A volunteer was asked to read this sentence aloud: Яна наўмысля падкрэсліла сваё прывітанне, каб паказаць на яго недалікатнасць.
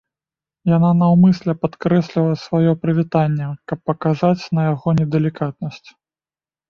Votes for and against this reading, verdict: 2, 0, accepted